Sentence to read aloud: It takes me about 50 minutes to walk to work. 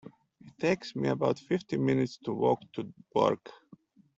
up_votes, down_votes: 0, 2